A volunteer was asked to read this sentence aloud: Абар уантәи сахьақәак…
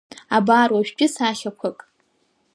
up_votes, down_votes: 1, 3